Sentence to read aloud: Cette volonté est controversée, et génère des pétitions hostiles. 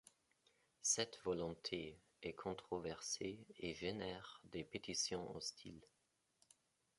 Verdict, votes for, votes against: accepted, 2, 0